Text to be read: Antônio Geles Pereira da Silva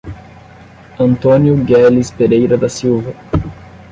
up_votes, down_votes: 0, 10